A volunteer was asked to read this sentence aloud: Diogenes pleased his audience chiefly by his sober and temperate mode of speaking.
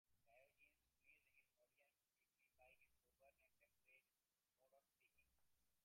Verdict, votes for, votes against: rejected, 0, 2